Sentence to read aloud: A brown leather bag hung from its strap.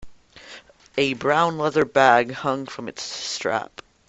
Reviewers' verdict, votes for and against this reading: accepted, 2, 0